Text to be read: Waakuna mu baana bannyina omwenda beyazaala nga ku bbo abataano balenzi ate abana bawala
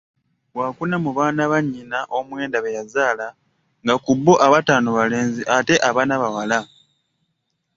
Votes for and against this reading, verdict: 2, 0, accepted